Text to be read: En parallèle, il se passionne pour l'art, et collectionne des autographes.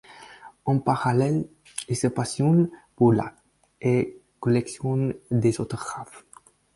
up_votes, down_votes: 4, 2